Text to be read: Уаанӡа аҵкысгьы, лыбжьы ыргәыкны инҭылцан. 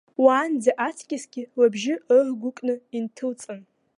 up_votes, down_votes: 1, 2